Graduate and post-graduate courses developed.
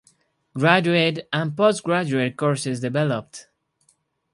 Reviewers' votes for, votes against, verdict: 2, 0, accepted